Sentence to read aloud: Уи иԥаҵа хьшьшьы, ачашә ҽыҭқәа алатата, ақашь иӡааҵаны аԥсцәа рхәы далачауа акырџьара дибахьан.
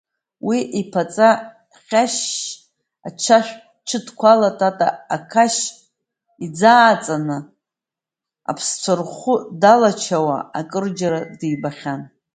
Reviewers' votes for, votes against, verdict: 0, 2, rejected